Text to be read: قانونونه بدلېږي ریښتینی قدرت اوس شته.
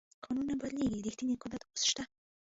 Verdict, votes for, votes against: rejected, 1, 2